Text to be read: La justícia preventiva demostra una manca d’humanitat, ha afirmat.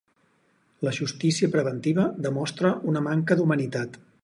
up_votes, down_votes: 2, 6